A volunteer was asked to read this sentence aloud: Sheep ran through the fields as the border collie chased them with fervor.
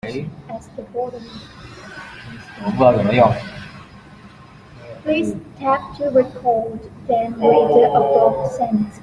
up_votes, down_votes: 0, 2